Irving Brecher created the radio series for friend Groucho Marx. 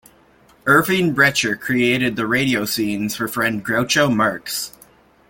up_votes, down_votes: 1, 2